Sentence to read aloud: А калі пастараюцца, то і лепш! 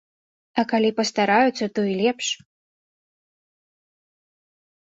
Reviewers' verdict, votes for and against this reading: accepted, 2, 0